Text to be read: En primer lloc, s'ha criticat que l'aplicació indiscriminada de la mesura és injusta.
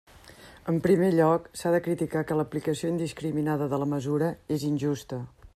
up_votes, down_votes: 0, 2